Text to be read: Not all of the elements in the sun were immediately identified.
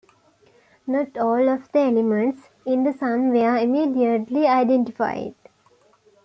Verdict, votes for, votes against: accepted, 2, 0